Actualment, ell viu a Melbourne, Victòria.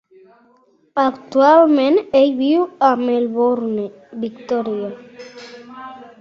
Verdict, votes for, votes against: accepted, 2, 0